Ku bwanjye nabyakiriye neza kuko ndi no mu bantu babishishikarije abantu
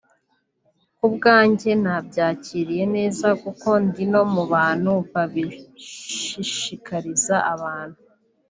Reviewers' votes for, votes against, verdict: 0, 2, rejected